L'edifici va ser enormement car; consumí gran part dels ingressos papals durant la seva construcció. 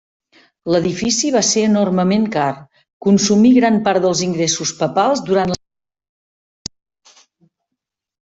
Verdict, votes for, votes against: rejected, 0, 2